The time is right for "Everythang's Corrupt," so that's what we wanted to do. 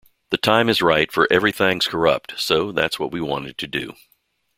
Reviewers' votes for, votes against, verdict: 2, 0, accepted